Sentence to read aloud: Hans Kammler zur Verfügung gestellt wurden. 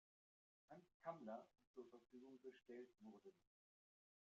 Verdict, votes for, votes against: rejected, 0, 2